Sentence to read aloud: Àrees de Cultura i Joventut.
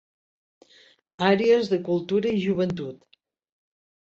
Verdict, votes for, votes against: accepted, 3, 0